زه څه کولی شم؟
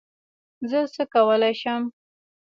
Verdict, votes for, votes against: rejected, 2, 3